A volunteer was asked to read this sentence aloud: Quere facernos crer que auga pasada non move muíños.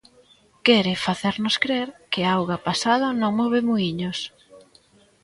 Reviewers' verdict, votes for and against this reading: rejected, 1, 2